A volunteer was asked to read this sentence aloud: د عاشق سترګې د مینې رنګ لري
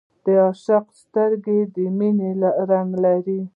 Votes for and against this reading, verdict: 2, 0, accepted